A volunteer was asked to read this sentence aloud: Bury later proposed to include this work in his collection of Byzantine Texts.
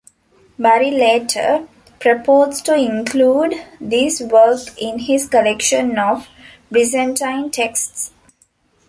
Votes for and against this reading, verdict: 2, 0, accepted